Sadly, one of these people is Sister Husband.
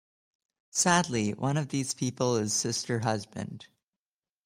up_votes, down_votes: 2, 0